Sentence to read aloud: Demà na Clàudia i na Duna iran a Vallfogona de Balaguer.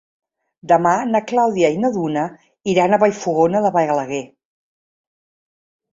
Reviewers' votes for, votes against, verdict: 0, 2, rejected